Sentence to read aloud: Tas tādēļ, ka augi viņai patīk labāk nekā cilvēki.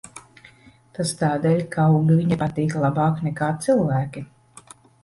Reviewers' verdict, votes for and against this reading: rejected, 1, 2